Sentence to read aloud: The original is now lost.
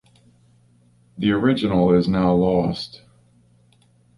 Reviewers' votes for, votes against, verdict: 2, 0, accepted